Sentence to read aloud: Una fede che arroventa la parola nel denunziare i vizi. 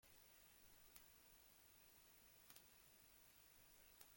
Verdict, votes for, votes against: rejected, 0, 2